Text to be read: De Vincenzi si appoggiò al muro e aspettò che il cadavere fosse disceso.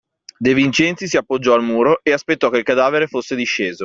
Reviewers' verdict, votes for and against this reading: accepted, 2, 0